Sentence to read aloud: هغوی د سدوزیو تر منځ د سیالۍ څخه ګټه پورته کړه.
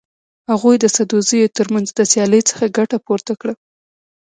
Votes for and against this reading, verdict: 2, 1, accepted